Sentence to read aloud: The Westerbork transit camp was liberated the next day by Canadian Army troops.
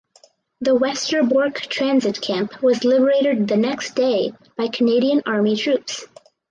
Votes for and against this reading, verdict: 4, 0, accepted